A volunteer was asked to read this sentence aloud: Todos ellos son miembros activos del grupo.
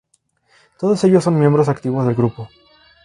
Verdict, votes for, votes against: accepted, 2, 0